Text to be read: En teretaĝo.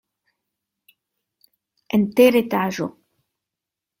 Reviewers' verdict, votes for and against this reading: rejected, 0, 2